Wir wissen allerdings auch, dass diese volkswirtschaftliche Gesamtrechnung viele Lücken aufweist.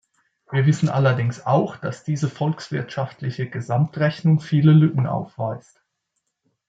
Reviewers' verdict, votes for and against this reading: accepted, 2, 0